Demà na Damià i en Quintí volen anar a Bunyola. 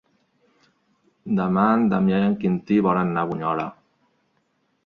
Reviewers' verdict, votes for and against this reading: rejected, 0, 2